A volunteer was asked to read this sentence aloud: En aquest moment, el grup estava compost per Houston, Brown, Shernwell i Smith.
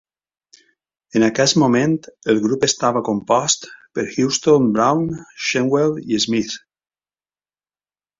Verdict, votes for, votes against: accepted, 2, 0